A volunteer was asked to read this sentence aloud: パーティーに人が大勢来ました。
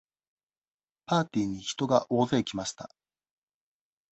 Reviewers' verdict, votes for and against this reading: accepted, 2, 0